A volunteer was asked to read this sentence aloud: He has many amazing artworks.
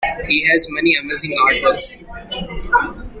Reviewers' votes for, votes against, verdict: 2, 1, accepted